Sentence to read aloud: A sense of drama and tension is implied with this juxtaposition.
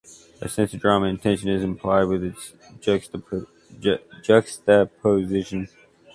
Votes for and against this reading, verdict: 1, 2, rejected